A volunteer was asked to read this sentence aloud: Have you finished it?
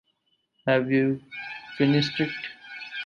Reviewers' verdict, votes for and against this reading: accepted, 4, 0